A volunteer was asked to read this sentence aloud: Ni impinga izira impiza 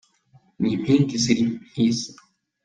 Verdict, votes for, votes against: rejected, 0, 2